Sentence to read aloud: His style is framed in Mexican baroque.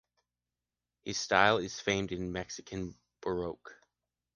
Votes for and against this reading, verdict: 1, 2, rejected